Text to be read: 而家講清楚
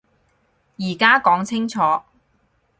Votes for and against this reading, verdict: 4, 0, accepted